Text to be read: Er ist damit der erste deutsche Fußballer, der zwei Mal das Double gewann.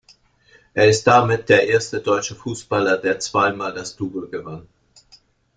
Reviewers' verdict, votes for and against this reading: accepted, 2, 0